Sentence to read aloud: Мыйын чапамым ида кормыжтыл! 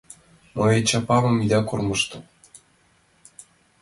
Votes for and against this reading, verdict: 2, 1, accepted